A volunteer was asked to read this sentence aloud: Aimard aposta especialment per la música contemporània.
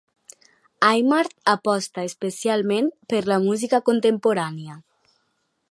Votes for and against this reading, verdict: 2, 0, accepted